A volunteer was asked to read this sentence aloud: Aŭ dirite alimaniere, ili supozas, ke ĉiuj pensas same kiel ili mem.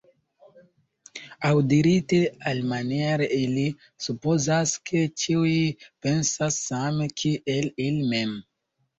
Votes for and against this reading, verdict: 0, 2, rejected